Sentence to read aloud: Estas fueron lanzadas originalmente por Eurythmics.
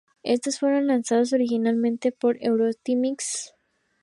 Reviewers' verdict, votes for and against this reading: rejected, 0, 2